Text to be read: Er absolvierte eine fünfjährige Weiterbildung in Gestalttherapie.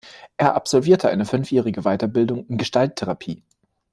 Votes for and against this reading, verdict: 2, 0, accepted